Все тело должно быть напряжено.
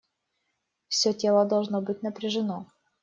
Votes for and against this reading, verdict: 2, 0, accepted